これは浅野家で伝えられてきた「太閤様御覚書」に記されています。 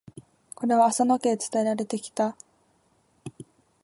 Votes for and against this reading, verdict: 0, 2, rejected